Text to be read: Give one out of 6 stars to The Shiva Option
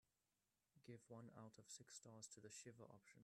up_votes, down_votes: 0, 2